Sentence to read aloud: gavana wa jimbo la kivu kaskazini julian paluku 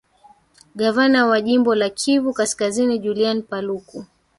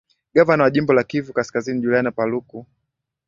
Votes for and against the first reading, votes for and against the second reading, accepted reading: 0, 2, 7, 5, second